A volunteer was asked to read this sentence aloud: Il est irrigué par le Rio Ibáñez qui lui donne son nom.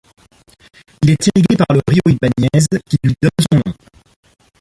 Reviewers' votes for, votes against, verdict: 1, 2, rejected